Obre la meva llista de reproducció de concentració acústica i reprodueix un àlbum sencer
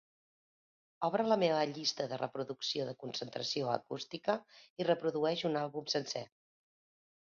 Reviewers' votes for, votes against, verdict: 2, 0, accepted